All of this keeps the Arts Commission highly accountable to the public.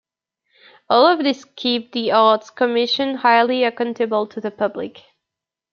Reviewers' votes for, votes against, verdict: 0, 2, rejected